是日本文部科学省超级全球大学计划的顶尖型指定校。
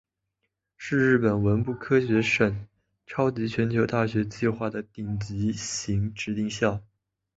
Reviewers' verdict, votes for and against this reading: accepted, 6, 1